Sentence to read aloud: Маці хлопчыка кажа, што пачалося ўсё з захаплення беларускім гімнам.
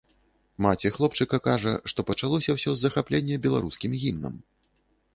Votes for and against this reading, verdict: 1, 2, rejected